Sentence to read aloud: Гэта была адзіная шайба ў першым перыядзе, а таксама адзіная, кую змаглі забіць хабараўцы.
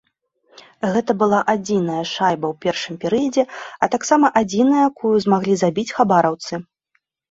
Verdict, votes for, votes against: rejected, 0, 2